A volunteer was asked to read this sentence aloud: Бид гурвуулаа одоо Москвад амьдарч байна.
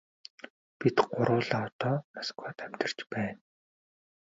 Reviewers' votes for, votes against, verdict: 2, 0, accepted